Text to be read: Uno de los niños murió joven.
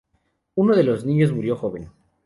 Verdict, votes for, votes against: accepted, 2, 0